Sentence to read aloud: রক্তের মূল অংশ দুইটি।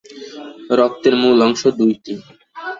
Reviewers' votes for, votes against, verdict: 2, 1, accepted